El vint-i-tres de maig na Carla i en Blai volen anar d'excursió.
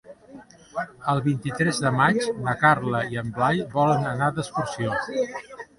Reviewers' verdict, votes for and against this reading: accepted, 2, 1